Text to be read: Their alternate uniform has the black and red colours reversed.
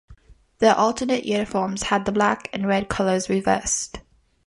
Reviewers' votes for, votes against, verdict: 2, 1, accepted